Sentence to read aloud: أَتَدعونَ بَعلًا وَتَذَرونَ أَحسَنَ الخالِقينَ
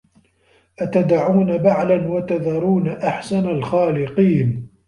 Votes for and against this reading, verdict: 1, 2, rejected